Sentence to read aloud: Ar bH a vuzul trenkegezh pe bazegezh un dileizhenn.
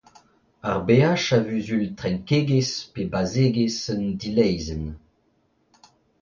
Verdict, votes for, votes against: accepted, 2, 0